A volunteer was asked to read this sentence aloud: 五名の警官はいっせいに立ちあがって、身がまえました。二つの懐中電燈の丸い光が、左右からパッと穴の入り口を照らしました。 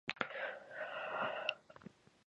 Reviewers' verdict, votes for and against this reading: rejected, 0, 3